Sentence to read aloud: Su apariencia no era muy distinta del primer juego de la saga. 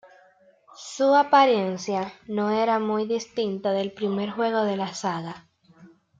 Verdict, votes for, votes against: accepted, 2, 1